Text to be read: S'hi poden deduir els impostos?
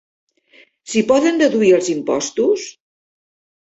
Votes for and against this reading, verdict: 3, 0, accepted